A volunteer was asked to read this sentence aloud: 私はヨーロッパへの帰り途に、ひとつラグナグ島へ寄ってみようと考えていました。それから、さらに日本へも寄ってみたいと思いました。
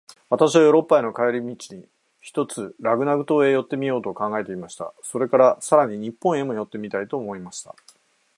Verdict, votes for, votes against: accepted, 6, 2